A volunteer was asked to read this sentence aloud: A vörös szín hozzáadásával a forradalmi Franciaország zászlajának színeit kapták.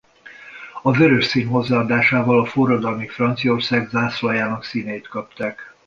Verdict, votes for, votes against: accepted, 2, 0